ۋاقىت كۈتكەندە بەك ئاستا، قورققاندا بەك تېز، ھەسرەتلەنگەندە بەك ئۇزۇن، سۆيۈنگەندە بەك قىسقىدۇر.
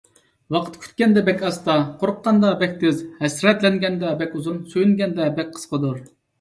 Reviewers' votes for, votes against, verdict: 2, 0, accepted